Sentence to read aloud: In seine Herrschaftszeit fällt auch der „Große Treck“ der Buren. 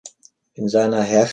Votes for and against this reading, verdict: 0, 3, rejected